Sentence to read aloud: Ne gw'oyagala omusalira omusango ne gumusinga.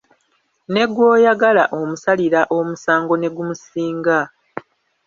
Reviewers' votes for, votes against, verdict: 1, 2, rejected